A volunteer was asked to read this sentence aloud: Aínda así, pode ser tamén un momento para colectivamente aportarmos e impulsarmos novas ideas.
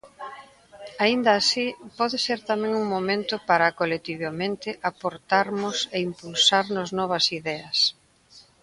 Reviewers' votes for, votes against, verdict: 2, 0, accepted